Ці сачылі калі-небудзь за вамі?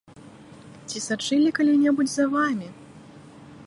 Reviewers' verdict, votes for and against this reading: accepted, 2, 0